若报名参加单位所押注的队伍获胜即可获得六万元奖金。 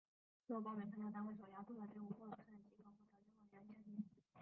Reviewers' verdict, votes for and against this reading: rejected, 0, 2